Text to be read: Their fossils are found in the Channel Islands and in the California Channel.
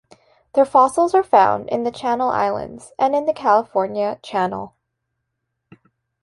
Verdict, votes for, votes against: accepted, 2, 0